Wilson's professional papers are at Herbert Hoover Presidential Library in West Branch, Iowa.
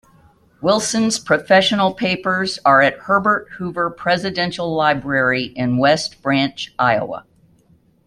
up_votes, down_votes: 2, 1